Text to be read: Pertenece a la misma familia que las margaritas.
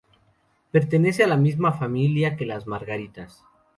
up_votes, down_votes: 2, 0